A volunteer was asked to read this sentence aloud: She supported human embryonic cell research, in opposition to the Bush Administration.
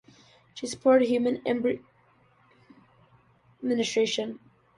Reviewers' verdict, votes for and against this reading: rejected, 1, 2